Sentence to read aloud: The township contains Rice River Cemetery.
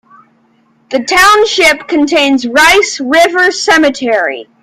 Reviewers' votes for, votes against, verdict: 0, 2, rejected